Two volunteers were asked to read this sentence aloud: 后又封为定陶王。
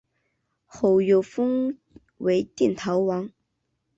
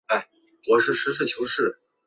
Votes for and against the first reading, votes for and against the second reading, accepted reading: 3, 1, 1, 2, first